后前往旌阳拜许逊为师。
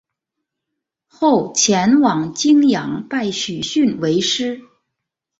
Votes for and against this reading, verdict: 2, 0, accepted